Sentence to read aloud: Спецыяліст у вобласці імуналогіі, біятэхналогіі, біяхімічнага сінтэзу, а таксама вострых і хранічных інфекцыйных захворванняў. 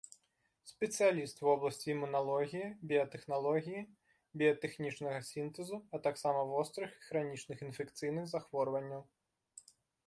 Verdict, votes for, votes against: rejected, 0, 2